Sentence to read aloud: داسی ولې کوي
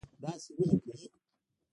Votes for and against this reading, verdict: 1, 2, rejected